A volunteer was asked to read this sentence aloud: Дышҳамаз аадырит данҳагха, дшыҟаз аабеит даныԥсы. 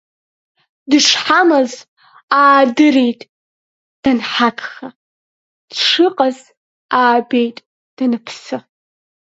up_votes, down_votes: 2, 0